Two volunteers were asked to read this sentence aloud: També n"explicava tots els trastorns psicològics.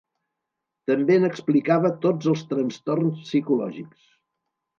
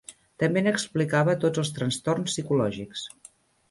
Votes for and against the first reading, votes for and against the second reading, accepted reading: 2, 0, 1, 2, first